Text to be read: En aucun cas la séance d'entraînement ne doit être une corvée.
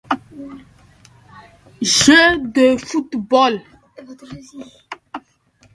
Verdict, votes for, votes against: rejected, 0, 3